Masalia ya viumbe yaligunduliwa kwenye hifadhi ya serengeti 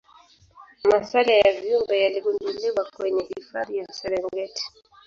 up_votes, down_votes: 1, 2